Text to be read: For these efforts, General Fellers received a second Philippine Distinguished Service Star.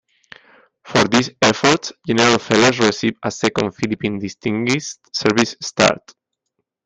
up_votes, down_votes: 0, 2